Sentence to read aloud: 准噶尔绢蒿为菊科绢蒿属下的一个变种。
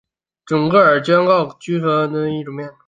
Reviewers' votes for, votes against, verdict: 0, 2, rejected